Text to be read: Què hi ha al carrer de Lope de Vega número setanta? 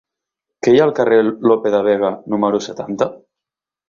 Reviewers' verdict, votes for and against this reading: rejected, 1, 2